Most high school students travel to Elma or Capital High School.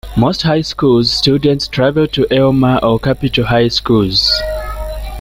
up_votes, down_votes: 1, 2